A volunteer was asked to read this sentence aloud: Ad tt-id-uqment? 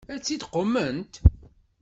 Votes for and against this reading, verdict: 1, 2, rejected